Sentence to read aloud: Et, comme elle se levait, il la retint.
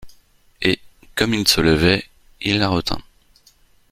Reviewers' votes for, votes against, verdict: 1, 2, rejected